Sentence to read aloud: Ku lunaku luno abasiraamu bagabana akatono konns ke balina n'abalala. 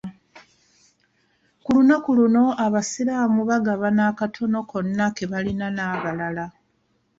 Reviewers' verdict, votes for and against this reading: rejected, 1, 2